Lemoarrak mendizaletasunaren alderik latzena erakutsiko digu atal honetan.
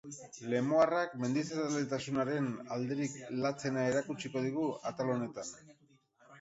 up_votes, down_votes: 4, 6